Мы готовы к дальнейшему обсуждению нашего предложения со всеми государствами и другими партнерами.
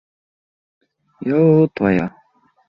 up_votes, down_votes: 0, 2